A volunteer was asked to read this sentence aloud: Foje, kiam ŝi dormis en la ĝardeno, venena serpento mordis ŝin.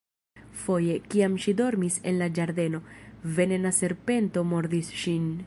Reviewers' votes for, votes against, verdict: 2, 1, accepted